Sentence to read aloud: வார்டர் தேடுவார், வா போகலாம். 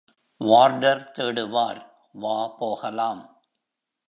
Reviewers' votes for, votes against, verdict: 3, 0, accepted